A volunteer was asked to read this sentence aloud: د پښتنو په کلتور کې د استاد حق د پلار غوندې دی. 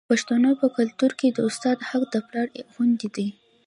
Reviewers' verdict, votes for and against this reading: accepted, 2, 0